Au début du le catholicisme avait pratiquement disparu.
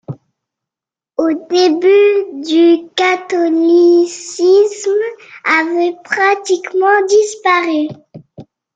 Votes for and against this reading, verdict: 0, 2, rejected